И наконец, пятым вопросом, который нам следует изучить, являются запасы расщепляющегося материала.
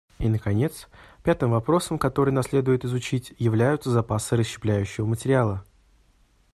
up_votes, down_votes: 0, 2